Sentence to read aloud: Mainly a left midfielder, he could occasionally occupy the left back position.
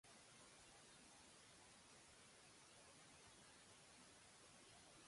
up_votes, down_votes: 0, 2